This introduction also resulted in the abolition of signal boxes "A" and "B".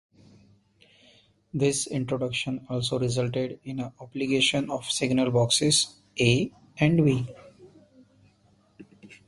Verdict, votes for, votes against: rejected, 1, 2